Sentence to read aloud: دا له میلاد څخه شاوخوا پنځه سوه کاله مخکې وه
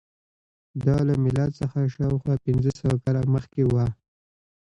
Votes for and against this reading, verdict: 2, 1, accepted